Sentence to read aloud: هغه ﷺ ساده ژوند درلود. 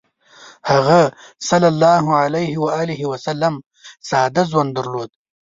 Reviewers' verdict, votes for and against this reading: accepted, 2, 0